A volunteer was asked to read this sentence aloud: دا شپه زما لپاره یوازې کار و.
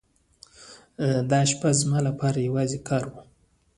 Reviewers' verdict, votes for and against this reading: rejected, 1, 2